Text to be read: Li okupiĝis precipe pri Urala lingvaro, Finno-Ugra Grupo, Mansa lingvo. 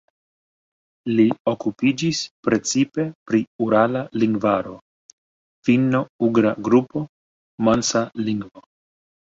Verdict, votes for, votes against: accepted, 2, 0